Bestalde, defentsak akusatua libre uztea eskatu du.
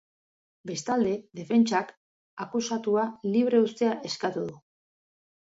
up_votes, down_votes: 4, 0